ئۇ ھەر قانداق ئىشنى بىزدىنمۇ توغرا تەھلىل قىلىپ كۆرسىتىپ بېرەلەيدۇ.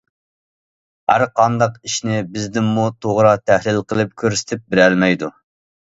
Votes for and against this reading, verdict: 0, 2, rejected